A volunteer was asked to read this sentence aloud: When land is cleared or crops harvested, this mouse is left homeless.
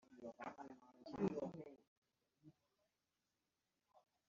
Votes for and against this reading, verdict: 0, 2, rejected